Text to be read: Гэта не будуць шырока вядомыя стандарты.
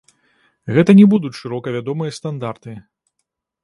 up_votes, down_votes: 1, 2